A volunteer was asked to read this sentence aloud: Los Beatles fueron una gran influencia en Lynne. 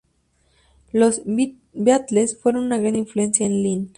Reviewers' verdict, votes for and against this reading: accepted, 2, 0